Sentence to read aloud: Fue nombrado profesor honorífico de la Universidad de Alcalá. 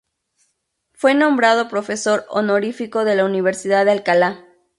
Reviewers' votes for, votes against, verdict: 4, 0, accepted